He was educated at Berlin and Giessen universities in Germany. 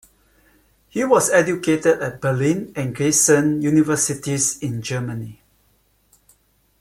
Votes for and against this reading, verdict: 2, 1, accepted